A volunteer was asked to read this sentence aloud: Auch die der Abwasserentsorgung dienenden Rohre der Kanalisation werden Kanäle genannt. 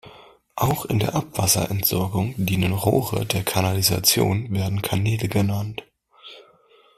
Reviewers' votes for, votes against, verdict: 0, 2, rejected